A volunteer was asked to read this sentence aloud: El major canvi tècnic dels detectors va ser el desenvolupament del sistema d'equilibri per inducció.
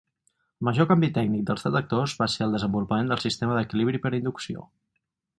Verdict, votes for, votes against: rejected, 0, 4